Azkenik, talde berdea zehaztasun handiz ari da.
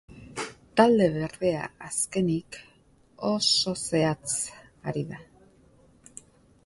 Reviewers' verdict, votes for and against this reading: rejected, 0, 2